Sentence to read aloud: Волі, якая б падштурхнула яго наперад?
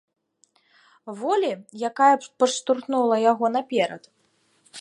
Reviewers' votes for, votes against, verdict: 2, 0, accepted